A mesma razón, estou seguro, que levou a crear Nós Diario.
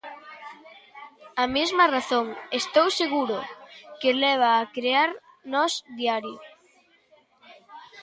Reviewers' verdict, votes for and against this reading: rejected, 0, 2